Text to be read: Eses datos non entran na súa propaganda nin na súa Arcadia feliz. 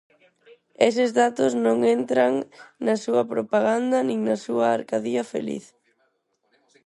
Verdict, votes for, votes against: rejected, 2, 4